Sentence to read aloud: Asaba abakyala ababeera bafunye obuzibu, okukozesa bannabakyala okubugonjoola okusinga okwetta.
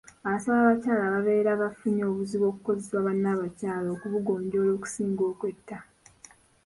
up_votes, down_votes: 0, 2